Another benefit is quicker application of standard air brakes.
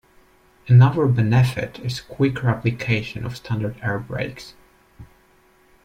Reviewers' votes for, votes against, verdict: 2, 0, accepted